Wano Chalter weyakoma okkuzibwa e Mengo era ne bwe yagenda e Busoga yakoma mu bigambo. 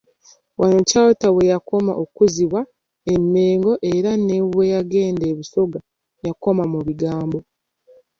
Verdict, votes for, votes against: accepted, 2, 0